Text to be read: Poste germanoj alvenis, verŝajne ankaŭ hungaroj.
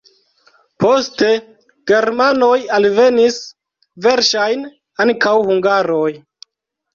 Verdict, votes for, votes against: rejected, 0, 2